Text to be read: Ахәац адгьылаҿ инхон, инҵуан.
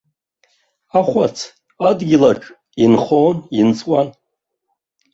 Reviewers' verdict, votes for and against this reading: rejected, 2, 3